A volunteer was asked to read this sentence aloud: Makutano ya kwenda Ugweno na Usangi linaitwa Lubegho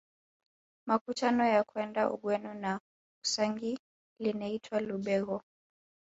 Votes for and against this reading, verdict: 0, 2, rejected